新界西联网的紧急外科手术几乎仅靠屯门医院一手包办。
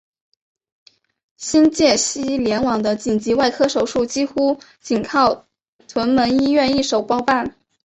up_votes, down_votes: 2, 0